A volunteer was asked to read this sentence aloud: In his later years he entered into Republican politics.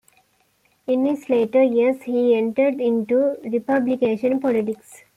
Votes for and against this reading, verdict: 0, 2, rejected